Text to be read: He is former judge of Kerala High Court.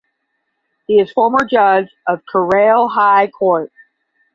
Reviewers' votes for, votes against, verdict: 5, 5, rejected